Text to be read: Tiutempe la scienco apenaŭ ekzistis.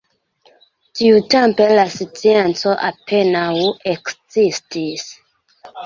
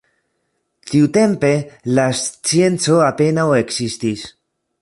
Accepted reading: second